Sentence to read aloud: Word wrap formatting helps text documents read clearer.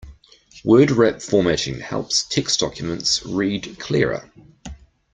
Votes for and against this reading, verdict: 2, 0, accepted